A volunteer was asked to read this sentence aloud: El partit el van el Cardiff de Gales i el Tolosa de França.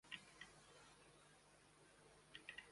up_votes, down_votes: 0, 2